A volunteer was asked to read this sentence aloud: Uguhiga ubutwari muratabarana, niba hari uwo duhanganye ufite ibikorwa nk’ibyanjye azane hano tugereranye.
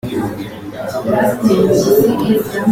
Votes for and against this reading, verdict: 0, 4, rejected